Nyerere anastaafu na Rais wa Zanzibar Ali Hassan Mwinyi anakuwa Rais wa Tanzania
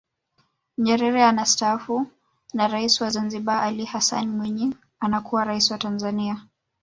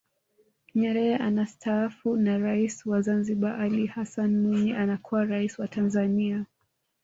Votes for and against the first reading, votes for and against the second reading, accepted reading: 1, 2, 2, 0, second